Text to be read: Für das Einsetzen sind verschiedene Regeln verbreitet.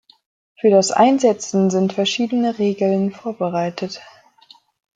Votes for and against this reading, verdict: 0, 2, rejected